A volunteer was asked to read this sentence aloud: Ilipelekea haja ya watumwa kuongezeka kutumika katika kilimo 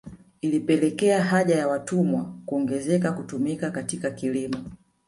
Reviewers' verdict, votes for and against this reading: accepted, 2, 0